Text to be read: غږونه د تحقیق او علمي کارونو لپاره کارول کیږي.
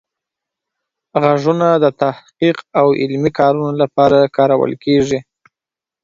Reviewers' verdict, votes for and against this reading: accepted, 2, 0